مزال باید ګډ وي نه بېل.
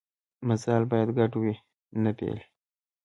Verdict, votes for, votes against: accepted, 2, 0